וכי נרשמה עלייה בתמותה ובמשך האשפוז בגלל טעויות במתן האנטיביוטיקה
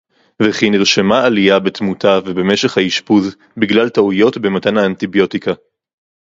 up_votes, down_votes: 2, 2